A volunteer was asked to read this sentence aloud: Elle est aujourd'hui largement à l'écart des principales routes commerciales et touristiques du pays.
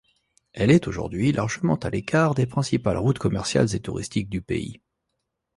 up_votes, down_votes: 0, 2